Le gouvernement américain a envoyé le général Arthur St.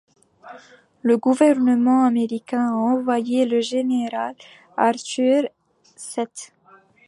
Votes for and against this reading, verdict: 1, 2, rejected